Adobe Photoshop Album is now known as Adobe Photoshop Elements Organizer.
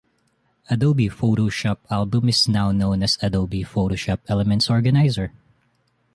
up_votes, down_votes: 2, 0